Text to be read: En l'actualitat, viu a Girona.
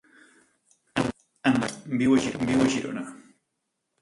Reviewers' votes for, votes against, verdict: 0, 2, rejected